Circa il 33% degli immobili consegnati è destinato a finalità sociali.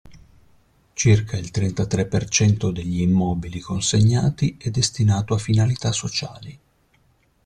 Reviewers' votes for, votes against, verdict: 0, 2, rejected